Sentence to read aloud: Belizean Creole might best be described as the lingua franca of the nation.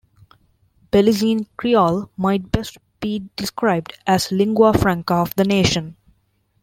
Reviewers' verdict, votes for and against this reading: rejected, 0, 2